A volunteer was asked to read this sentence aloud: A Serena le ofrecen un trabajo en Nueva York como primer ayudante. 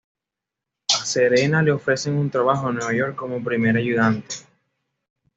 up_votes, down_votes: 2, 0